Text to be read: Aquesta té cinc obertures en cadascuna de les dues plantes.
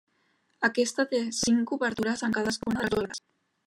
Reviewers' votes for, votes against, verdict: 0, 2, rejected